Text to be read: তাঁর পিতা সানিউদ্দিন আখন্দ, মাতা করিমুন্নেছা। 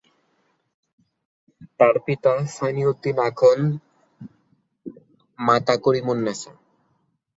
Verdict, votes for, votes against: rejected, 1, 2